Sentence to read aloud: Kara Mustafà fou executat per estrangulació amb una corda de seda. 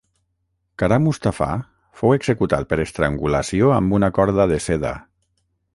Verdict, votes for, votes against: rejected, 3, 3